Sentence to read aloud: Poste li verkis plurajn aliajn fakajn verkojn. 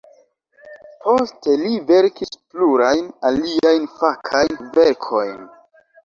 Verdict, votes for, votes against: rejected, 1, 2